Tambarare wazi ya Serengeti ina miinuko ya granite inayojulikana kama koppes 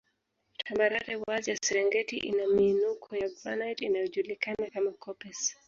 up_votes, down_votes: 1, 2